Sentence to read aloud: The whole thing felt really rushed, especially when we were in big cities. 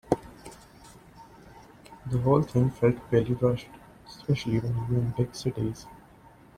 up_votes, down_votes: 3, 1